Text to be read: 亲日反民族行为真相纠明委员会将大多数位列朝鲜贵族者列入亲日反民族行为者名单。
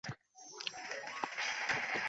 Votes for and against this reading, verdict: 0, 2, rejected